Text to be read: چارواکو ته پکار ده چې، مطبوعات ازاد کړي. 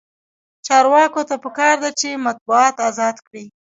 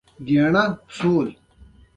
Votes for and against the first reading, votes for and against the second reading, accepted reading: 0, 2, 2, 0, second